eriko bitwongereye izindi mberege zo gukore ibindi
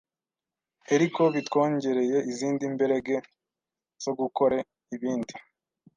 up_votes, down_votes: 1, 2